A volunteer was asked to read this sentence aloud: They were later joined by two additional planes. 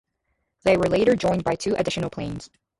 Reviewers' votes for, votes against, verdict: 0, 2, rejected